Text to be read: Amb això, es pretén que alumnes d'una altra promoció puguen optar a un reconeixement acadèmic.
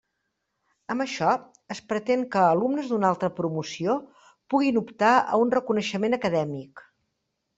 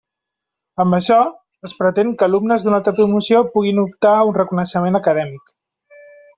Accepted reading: second